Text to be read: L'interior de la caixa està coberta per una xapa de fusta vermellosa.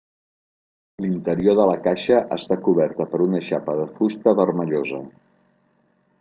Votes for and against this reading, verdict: 4, 0, accepted